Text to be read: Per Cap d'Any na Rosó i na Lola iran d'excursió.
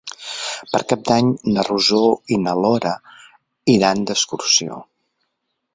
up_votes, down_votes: 0, 4